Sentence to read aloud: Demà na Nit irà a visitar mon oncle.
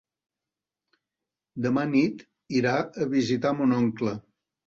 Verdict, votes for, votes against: rejected, 1, 2